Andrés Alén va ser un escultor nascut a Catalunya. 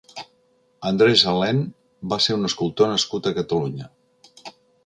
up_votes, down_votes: 2, 0